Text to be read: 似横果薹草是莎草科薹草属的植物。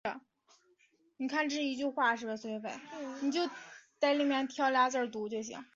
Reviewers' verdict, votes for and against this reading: rejected, 0, 2